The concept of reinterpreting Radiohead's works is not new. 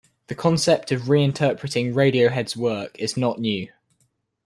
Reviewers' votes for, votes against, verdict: 1, 3, rejected